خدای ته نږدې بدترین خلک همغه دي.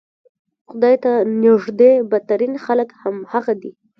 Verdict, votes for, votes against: rejected, 1, 2